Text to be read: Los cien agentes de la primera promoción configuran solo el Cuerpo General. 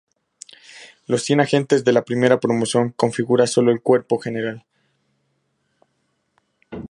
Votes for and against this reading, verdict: 2, 0, accepted